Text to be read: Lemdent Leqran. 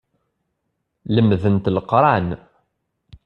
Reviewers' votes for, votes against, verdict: 2, 0, accepted